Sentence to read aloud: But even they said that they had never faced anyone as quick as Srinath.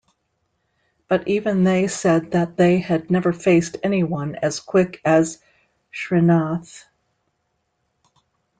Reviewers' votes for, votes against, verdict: 2, 0, accepted